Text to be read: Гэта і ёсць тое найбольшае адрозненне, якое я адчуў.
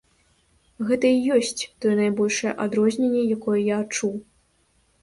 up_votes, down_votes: 2, 0